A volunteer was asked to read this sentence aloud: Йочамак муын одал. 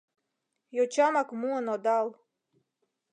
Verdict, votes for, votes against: accepted, 2, 0